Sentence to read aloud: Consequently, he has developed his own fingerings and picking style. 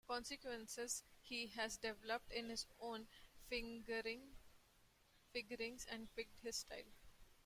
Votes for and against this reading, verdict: 0, 2, rejected